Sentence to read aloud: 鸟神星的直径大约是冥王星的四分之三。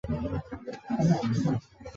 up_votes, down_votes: 2, 4